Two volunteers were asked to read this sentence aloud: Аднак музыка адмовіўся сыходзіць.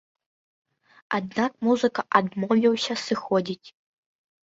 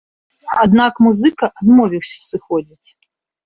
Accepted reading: second